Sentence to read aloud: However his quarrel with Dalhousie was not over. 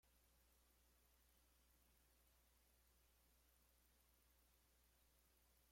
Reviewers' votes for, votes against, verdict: 0, 2, rejected